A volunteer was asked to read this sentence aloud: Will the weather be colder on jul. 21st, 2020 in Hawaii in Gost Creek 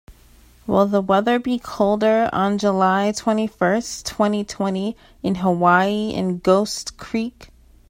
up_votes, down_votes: 0, 2